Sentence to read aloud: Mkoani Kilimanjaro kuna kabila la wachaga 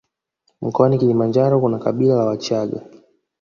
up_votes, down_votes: 0, 2